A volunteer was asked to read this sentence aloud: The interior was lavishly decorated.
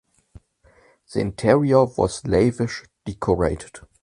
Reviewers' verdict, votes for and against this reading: rejected, 0, 2